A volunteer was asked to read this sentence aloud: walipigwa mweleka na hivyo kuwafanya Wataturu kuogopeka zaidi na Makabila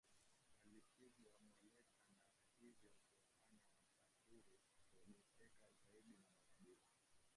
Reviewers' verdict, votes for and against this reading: rejected, 0, 3